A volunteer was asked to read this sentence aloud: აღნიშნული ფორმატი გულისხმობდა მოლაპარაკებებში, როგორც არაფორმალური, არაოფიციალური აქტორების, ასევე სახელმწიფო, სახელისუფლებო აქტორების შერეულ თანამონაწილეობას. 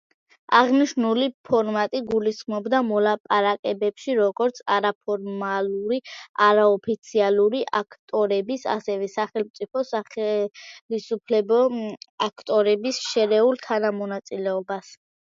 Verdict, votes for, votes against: accepted, 2, 1